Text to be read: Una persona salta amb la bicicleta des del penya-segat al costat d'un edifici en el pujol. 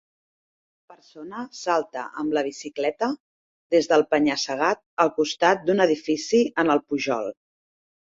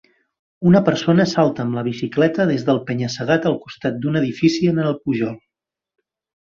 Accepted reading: second